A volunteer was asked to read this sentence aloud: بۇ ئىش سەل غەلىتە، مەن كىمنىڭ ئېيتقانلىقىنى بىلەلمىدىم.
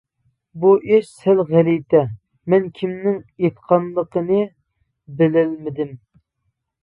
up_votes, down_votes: 2, 0